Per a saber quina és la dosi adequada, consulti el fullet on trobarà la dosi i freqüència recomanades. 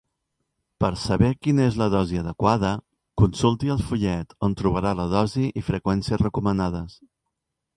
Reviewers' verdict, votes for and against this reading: accepted, 2, 0